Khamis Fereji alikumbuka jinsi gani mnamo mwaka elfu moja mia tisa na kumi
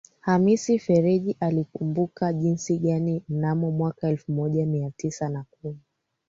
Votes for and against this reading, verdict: 3, 2, accepted